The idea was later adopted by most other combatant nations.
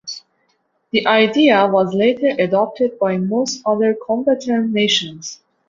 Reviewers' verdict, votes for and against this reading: accepted, 2, 0